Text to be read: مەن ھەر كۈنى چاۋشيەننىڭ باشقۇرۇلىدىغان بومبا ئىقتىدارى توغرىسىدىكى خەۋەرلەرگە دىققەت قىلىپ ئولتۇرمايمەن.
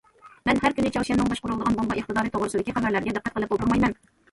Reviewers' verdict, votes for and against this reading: rejected, 1, 2